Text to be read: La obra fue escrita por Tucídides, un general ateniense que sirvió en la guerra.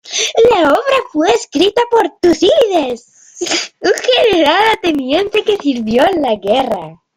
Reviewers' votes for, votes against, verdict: 0, 2, rejected